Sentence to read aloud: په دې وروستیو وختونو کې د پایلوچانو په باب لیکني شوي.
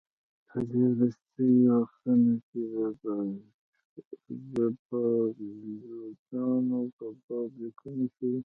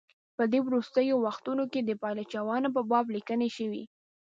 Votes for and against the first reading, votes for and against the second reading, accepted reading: 0, 2, 2, 0, second